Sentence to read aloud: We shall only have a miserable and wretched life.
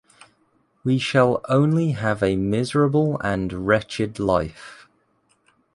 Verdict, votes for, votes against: accepted, 2, 0